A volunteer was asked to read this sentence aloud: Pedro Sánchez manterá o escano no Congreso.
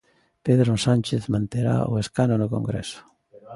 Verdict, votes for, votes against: accepted, 2, 1